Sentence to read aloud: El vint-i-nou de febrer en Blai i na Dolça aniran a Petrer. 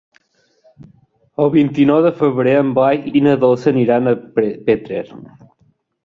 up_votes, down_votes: 0, 2